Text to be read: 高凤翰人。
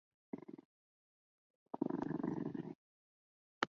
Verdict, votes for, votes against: rejected, 0, 2